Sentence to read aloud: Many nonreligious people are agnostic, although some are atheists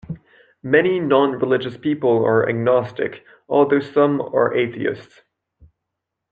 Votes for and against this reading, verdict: 2, 0, accepted